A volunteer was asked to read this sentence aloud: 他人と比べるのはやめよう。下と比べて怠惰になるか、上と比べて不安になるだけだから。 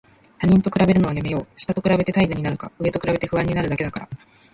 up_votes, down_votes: 1, 2